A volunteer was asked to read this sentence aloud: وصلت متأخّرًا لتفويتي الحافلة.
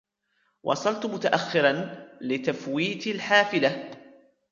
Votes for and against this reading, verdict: 2, 0, accepted